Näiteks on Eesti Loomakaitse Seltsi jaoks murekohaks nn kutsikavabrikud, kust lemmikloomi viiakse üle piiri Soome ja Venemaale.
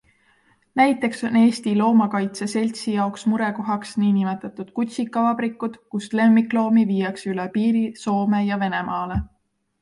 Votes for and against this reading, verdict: 2, 0, accepted